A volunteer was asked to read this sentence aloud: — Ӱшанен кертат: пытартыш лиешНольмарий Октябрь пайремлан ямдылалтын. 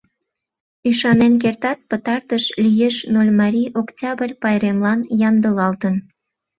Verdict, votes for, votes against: rejected, 0, 2